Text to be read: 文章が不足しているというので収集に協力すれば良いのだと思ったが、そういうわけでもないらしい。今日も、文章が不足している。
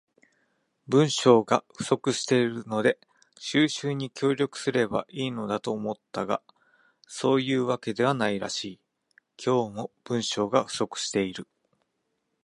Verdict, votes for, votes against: rejected, 0, 2